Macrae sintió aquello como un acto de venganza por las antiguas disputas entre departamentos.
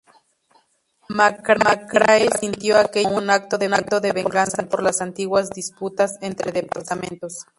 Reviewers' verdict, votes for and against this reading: rejected, 0, 4